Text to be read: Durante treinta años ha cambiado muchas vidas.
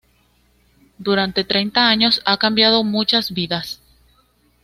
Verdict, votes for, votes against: accepted, 2, 0